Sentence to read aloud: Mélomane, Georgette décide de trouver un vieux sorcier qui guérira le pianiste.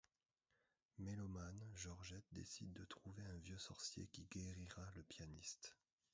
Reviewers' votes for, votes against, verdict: 0, 2, rejected